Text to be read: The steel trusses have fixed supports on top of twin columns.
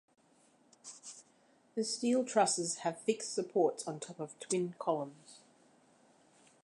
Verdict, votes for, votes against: accepted, 2, 0